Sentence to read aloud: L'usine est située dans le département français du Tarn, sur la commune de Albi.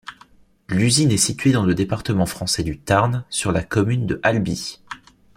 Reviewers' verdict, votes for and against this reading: accepted, 2, 1